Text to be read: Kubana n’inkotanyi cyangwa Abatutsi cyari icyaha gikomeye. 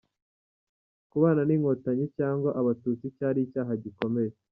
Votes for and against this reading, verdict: 2, 0, accepted